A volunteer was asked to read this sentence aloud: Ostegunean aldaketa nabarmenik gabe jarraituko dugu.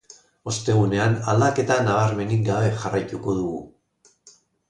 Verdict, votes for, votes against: accepted, 2, 0